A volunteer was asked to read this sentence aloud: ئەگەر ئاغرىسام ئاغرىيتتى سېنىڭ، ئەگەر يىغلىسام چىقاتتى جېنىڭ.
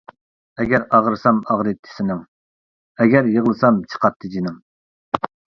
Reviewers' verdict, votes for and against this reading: accepted, 2, 0